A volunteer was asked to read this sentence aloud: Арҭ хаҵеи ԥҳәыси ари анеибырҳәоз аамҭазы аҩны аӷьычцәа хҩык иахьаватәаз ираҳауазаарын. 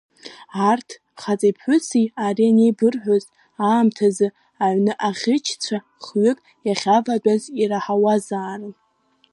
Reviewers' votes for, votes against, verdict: 2, 0, accepted